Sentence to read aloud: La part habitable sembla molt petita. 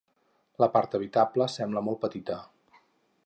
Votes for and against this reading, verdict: 4, 0, accepted